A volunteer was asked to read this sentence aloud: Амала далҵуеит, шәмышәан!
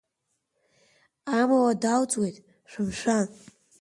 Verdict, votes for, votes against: accepted, 2, 1